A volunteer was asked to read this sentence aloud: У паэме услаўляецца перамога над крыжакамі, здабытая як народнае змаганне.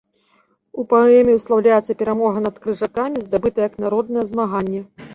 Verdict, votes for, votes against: accepted, 2, 1